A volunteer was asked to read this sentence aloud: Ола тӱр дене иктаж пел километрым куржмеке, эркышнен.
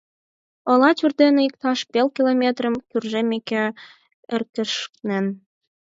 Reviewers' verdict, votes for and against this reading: rejected, 0, 4